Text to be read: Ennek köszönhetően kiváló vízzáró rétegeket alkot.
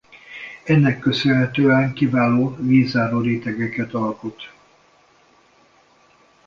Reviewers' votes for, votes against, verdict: 1, 2, rejected